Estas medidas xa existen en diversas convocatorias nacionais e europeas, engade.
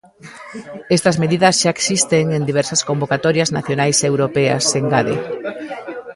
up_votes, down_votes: 0, 2